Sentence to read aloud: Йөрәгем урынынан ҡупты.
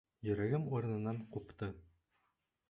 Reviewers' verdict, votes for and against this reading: accepted, 2, 0